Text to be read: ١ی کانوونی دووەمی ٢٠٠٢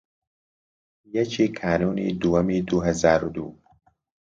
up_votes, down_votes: 0, 2